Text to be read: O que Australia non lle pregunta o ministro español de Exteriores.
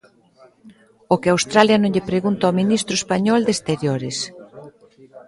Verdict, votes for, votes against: accepted, 2, 1